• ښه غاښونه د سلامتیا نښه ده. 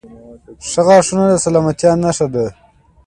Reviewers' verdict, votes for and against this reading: accepted, 2, 0